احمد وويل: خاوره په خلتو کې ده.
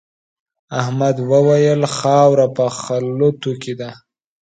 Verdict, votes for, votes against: rejected, 0, 2